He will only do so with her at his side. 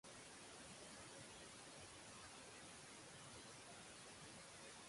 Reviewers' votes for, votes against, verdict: 0, 3, rejected